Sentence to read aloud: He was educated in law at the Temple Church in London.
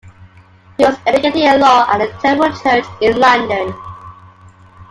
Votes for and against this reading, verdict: 2, 0, accepted